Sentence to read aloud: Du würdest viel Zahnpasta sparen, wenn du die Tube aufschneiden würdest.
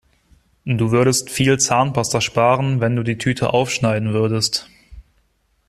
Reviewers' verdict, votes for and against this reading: rejected, 1, 2